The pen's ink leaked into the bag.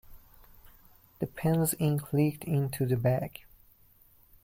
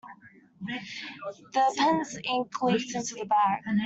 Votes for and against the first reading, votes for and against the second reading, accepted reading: 2, 1, 0, 2, first